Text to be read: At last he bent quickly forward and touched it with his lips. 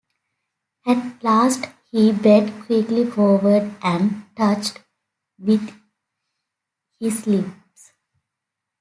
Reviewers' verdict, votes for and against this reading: rejected, 0, 2